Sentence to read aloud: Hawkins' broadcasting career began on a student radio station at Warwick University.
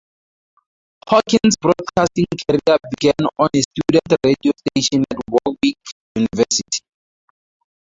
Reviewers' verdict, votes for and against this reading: accepted, 2, 0